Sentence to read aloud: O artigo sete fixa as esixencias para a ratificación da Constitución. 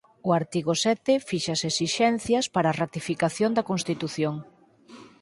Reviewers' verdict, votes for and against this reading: accepted, 4, 0